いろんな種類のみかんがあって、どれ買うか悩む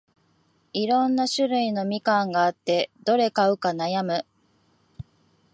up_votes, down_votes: 2, 0